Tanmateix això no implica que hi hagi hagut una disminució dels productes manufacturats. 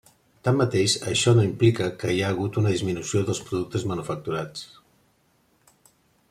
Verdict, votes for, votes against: rejected, 0, 2